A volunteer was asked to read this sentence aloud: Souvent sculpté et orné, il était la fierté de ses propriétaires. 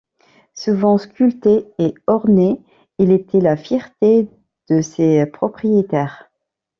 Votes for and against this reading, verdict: 2, 0, accepted